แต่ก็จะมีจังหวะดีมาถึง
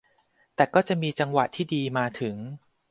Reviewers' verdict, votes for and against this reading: rejected, 0, 2